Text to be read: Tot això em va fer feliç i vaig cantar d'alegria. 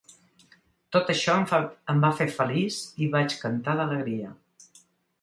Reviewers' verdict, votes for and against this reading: rejected, 0, 2